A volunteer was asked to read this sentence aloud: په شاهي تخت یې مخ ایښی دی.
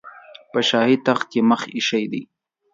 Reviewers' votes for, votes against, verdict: 2, 0, accepted